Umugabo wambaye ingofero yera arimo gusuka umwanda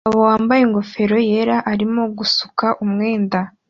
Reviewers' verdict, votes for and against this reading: rejected, 1, 2